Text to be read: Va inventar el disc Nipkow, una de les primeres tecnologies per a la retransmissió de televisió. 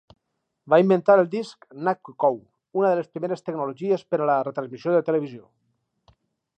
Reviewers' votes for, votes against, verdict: 0, 2, rejected